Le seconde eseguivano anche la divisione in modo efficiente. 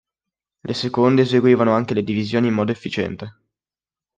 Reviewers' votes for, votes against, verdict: 0, 2, rejected